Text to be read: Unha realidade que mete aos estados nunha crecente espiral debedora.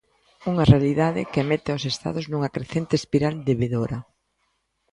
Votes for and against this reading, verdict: 2, 0, accepted